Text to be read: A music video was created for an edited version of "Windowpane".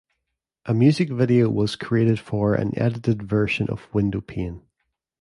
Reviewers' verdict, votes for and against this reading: accepted, 2, 0